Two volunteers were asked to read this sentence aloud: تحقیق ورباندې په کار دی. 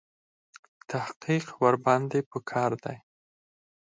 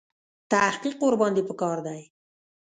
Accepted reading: first